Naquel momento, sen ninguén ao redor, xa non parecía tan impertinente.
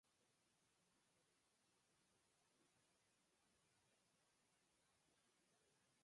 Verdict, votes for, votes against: rejected, 0, 4